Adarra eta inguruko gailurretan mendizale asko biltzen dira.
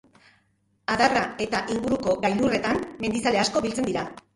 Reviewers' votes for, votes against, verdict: 3, 2, accepted